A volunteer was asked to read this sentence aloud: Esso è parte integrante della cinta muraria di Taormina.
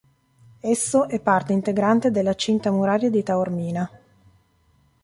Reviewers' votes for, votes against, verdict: 2, 0, accepted